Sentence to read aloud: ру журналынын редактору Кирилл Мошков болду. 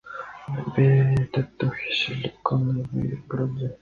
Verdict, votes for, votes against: rejected, 0, 2